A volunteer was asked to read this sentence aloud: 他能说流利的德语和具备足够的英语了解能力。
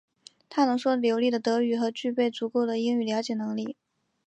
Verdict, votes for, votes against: accepted, 3, 0